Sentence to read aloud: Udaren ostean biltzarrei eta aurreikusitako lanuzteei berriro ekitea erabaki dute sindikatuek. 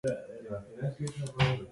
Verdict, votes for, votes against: rejected, 0, 2